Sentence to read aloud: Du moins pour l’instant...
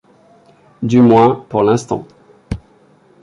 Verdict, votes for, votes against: accepted, 2, 1